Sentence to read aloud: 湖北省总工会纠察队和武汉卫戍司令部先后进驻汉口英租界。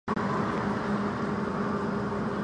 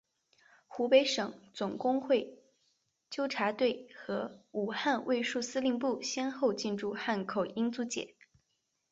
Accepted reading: second